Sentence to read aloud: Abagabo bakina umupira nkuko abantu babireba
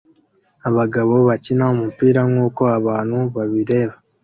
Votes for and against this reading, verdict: 2, 0, accepted